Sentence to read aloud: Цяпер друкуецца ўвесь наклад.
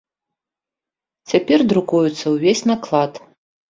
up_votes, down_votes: 2, 0